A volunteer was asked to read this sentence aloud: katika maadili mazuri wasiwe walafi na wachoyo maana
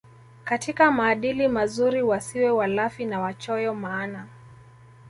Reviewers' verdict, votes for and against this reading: accepted, 2, 0